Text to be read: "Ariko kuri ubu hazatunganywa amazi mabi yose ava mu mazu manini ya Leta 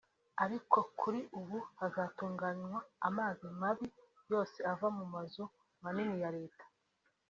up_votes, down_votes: 3, 1